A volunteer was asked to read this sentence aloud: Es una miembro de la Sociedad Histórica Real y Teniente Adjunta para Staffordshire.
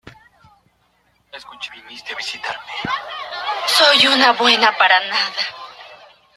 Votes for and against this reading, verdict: 0, 2, rejected